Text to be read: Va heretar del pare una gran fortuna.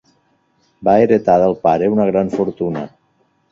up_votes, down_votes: 2, 0